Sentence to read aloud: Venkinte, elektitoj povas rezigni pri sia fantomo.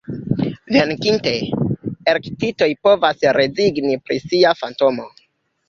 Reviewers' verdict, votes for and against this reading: rejected, 0, 2